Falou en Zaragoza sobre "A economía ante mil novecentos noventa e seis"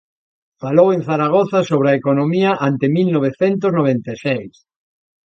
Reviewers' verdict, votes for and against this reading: accepted, 2, 0